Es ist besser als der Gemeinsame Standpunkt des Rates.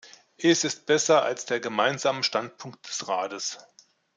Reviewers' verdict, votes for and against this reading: accepted, 2, 0